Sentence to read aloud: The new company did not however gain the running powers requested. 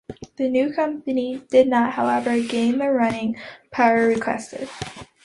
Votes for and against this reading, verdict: 0, 2, rejected